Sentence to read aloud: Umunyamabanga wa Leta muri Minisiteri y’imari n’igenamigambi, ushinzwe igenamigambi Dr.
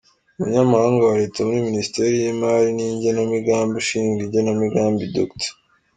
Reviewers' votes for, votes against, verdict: 5, 4, accepted